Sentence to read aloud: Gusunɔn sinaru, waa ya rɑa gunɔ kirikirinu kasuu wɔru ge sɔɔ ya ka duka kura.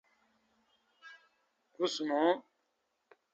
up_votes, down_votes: 0, 2